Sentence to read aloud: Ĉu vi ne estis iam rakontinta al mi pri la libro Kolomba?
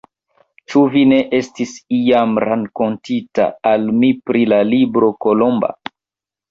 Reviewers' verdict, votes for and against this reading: accepted, 2, 1